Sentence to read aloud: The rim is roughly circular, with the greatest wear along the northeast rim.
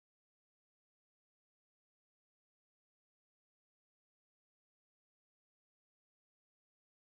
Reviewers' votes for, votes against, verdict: 0, 2, rejected